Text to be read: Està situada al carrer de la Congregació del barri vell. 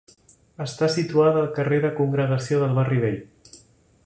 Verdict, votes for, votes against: rejected, 1, 2